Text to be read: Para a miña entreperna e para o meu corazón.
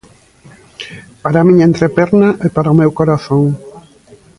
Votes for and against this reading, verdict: 2, 0, accepted